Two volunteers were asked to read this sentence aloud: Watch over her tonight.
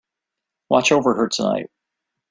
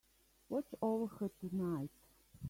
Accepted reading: first